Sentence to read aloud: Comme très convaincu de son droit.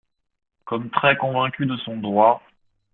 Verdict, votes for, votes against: accepted, 2, 0